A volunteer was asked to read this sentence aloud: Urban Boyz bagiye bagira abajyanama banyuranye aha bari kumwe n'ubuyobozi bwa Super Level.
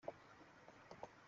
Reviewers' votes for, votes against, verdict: 0, 3, rejected